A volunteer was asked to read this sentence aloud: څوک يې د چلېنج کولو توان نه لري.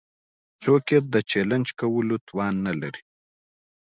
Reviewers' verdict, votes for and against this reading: accepted, 2, 0